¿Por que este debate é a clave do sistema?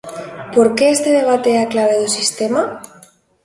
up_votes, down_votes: 2, 0